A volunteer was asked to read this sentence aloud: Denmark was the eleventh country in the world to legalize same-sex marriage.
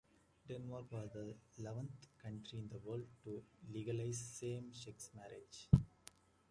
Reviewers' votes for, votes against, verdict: 2, 1, accepted